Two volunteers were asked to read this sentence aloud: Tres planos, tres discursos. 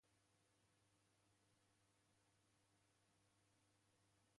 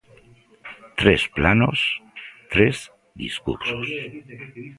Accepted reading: second